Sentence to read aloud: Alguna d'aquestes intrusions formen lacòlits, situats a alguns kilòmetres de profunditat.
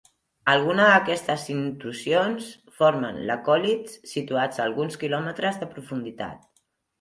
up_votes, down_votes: 2, 1